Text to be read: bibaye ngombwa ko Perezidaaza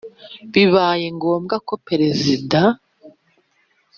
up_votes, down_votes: 1, 2